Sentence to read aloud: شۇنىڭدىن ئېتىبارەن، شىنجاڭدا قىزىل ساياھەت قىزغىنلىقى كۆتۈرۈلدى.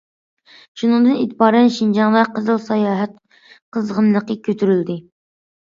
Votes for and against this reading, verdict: 2, 0, accepted